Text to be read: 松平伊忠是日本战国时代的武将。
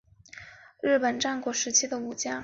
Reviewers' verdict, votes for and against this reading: rejected, 2, 3